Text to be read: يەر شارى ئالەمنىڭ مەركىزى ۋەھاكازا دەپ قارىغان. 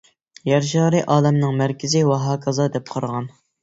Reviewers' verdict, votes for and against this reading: accepted, 2, 0